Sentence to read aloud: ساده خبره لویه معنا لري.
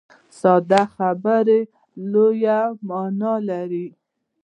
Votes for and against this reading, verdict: 2, 0, accepted